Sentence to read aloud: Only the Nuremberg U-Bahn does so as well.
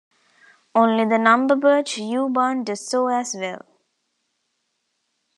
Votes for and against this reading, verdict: 1, 2, rejected